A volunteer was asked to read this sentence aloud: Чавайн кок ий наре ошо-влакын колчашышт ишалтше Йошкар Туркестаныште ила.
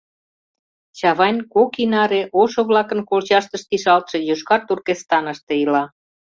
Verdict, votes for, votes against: rejected, 0, 2